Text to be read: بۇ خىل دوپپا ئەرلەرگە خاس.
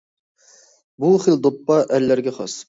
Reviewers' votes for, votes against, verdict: 2, 0, accepted